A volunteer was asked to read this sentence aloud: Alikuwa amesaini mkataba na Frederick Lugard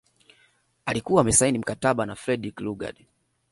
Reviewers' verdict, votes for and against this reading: accepted, 2, 0